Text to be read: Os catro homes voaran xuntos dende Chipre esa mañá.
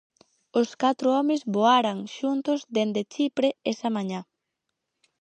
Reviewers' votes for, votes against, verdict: 4, 0, accepted